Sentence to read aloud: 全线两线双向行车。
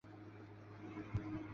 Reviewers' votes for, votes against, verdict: 0, 2, rejected